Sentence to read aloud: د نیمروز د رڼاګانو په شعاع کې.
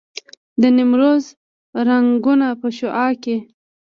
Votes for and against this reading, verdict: 0, 2, rejected